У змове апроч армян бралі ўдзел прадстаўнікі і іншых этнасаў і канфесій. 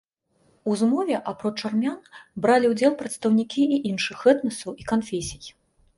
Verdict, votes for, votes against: accepted, 2, 0